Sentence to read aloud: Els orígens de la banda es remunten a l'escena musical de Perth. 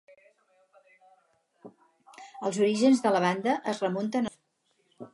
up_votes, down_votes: 0, 4